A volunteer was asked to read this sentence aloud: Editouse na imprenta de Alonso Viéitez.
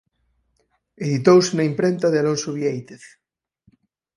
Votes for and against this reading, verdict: 4, 0, accepted